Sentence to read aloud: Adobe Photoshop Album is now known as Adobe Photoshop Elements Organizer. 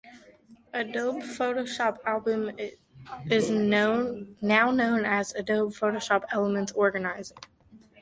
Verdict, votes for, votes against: rejected, 0, 2